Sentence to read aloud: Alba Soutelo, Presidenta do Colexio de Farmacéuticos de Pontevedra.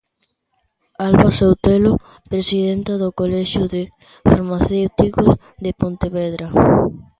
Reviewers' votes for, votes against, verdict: 0, 2, rejected